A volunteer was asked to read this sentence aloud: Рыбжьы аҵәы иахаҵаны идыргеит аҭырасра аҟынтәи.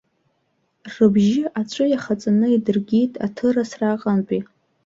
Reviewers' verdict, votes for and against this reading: accepted, 2, 0